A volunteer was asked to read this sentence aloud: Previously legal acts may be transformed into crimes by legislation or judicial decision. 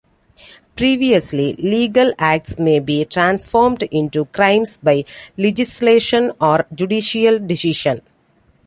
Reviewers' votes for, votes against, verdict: 2, 0, accepted